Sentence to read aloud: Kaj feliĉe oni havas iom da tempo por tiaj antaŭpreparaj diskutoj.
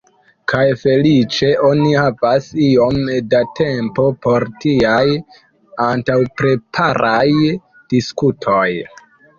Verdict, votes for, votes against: accepted, 2, 0